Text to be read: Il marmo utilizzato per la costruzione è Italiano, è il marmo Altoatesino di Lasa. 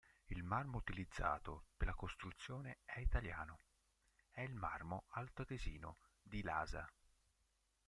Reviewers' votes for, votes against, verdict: 1, 2, rejected